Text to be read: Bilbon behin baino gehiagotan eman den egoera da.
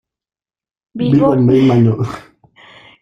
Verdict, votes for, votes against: rejected, 0, 2